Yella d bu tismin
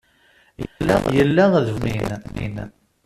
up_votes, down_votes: 0, 2